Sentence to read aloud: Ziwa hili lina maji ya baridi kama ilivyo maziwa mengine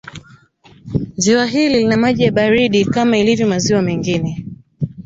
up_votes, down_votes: 0, 2